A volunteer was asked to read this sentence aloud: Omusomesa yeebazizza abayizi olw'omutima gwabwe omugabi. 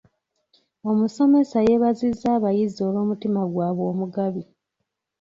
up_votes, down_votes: 2, 0